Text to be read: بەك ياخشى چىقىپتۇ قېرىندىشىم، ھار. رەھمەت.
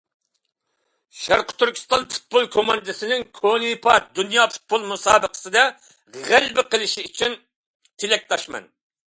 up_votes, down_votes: 0, 2